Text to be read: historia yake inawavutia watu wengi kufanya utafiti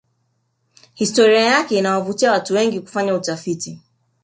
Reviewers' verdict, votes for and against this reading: rejected, 1, 2